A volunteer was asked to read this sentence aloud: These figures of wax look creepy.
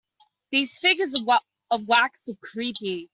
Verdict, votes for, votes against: rejected, 2, 4